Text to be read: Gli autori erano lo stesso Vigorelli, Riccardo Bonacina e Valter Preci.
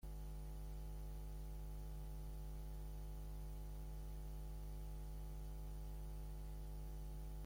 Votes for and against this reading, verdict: 0, 2, rejected